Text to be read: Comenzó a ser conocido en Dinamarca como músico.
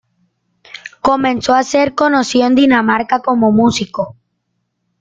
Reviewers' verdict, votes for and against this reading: rejected, 1, 2